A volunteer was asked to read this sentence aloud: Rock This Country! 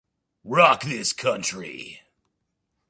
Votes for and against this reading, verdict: 2, 0, accepted